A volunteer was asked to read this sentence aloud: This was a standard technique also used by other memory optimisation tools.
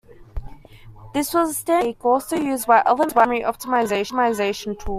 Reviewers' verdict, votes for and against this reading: rejected, 0, 2